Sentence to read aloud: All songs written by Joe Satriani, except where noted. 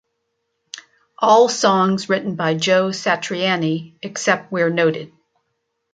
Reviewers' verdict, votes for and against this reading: accepted, 3, 0